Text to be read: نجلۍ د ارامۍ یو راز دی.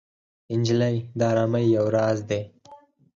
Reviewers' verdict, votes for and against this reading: rejected, 2, 4